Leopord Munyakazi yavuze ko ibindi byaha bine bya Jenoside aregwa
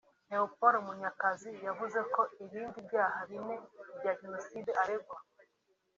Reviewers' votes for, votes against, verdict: 2, 1, accepted